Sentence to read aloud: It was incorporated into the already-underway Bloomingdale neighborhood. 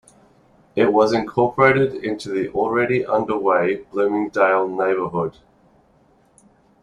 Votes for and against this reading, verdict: 2, 0, accepted